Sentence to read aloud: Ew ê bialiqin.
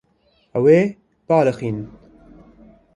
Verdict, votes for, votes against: rejected, 1, 2